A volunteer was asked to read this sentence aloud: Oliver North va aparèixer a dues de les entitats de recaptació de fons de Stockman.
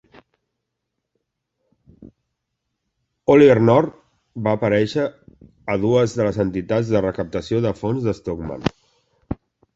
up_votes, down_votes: 2, 0